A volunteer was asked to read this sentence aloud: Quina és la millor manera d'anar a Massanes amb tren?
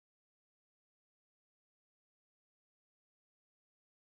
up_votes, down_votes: 0, 2